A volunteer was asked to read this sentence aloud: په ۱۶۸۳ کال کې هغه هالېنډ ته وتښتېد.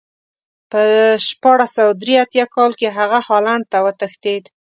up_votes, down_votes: 0, 2